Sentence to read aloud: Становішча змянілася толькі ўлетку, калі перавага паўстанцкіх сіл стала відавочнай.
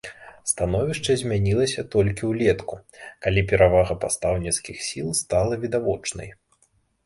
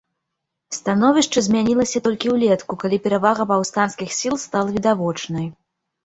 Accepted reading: second